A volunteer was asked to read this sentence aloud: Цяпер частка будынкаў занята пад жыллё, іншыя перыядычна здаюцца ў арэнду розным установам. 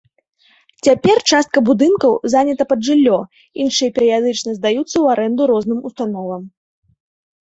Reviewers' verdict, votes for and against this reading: rejected, 0, 2